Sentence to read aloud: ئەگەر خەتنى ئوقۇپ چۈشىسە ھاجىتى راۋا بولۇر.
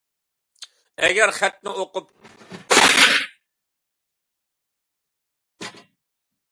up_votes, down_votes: 0, 2